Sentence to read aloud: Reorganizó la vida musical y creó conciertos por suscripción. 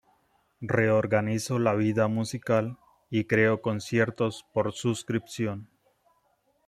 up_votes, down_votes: 2, 1